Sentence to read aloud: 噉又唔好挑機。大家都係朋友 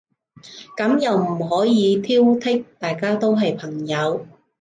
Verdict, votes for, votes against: rejected, 0, 2